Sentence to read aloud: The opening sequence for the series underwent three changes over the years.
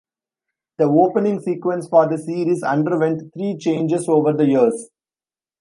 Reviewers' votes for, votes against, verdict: 2, 1, accepted